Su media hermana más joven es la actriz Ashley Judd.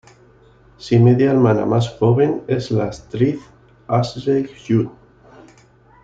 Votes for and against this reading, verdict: 1, 2, rejected